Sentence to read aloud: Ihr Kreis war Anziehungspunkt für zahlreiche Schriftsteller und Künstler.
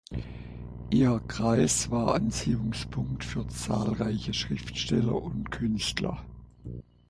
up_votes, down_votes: 2, 4